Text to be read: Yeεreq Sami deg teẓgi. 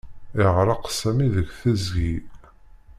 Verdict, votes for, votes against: rejected, 1, 2